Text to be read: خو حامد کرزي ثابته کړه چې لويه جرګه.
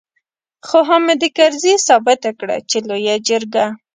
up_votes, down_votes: 2, 0